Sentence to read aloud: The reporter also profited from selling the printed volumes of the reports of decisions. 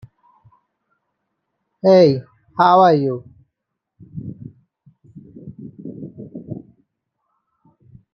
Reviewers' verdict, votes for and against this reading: rejected, 0, 2